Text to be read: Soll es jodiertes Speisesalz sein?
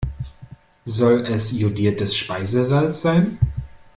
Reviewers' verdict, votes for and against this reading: accepted, 2, 0